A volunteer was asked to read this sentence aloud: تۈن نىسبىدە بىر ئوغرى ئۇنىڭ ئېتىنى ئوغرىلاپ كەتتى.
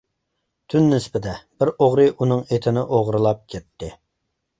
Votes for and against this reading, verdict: 2, 0, accepted